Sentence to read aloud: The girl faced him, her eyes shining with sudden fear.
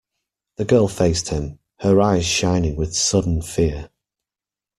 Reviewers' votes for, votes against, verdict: 2, 0, accepted